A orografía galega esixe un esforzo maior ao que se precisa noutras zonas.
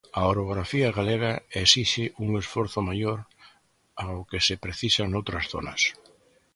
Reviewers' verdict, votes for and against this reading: accepted, 2, 0